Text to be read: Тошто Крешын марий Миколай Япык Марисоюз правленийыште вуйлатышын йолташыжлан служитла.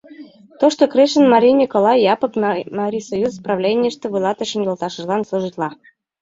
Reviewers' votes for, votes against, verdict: 1, 2, rejected